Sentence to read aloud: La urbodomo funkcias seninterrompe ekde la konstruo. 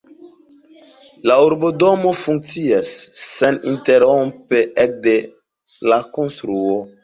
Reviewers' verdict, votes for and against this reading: rejected, 0, 2